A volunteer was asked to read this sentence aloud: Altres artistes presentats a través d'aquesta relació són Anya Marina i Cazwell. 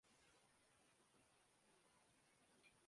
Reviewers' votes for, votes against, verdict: 0, 2, rejected